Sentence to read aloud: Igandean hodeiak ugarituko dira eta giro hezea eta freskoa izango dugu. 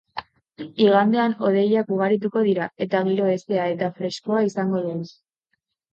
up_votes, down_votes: 3, 3